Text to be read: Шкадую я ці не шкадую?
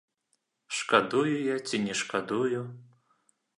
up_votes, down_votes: 2, 0